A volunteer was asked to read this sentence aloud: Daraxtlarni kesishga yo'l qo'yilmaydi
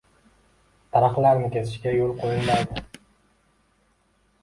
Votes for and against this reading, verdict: 2, 1, accepted